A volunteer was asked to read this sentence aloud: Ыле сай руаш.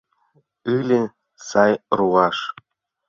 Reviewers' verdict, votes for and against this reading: accepted, 2, 0